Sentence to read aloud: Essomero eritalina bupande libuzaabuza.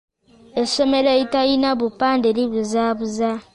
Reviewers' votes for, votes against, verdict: 2, 0, accepted